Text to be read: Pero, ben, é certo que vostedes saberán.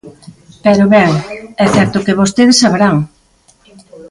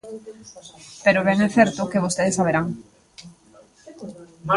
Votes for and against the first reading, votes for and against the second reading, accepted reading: 2, 1, 0, 2, first